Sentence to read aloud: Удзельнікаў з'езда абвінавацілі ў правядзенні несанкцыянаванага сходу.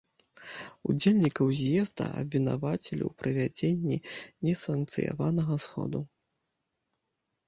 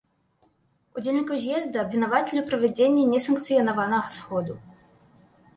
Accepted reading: second